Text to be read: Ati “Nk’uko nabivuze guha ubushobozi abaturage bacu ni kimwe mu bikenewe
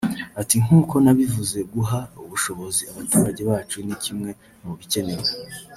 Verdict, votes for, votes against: accepted, 3, 0